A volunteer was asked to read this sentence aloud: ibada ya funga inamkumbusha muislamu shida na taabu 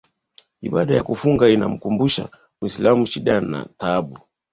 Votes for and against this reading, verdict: 0, 2, rejected